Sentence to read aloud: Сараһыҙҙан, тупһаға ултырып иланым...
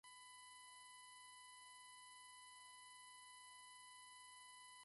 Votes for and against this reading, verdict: 1, 2, rejected